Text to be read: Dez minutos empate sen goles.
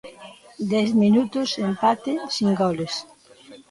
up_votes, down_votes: 0, 2